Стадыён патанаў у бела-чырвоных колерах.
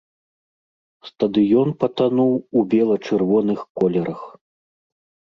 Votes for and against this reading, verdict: 0, 2, rejected